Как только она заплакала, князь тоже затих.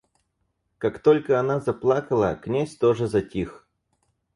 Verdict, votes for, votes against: accepted, 4, 0